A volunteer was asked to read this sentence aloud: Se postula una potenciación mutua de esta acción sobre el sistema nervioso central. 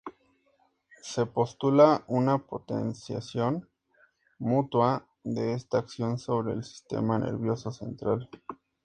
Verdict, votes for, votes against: accepted, 2, 0